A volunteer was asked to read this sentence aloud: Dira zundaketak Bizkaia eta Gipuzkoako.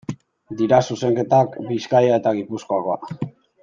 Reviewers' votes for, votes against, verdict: 1, 2, rejected